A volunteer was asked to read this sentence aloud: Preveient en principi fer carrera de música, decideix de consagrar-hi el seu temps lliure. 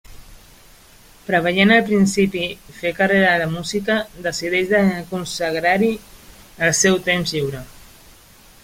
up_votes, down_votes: 0, 2